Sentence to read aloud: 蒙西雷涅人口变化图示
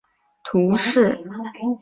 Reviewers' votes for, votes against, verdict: 0, 2, rejected